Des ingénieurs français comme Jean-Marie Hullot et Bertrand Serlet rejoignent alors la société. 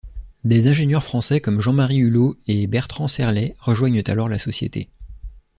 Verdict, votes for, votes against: accepted, 2, 0